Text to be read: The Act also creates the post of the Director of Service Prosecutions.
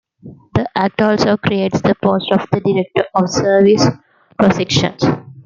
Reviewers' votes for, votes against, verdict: 0, 2, rejected